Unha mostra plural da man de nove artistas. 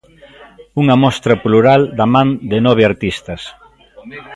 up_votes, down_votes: 2, 0